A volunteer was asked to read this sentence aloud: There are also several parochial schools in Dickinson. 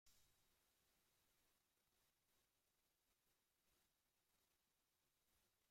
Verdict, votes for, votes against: rejected, 0, 2